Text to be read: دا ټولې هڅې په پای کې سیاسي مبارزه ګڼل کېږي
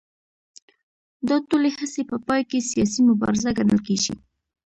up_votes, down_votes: 2, 0